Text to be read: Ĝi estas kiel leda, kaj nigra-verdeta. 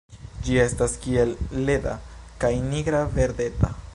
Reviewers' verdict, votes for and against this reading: rejected, 1, 2